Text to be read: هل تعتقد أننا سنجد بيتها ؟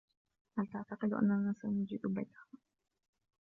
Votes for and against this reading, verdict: 2, 0, accepted